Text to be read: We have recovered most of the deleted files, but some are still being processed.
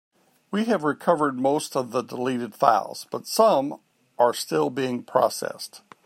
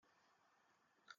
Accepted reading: first